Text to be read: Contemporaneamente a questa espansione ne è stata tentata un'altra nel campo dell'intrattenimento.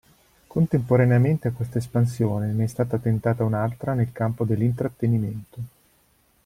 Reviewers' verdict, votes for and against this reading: accepted, 2, 0